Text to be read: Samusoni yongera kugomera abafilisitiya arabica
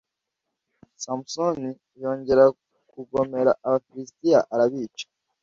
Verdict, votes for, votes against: accepted, 2, 0